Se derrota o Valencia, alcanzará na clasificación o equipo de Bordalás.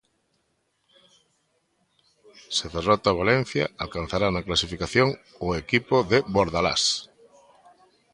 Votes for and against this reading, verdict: 2, 0, accepted